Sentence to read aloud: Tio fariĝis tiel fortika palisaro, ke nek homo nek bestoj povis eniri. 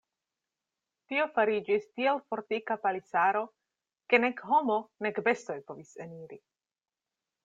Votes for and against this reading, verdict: 2, 0, accepted